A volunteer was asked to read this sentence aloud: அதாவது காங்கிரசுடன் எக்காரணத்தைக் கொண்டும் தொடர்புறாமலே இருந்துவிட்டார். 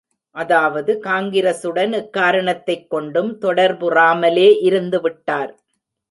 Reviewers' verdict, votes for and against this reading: accepted, 2, 0